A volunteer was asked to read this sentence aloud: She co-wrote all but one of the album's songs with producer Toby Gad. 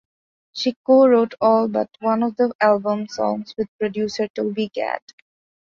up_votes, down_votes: 3, 0